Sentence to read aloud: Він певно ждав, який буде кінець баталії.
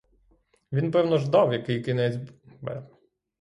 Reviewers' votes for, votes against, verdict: 0, 6, rejected